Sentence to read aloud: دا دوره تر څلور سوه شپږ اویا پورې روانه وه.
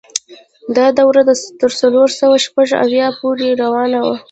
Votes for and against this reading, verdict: 2, 0, accepted